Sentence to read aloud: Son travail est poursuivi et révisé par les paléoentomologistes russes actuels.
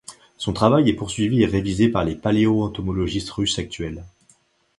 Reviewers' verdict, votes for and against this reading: accepted, 2, 0